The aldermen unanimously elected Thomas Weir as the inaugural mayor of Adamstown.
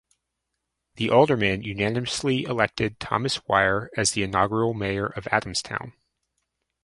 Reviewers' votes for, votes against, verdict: 2, 0, accepted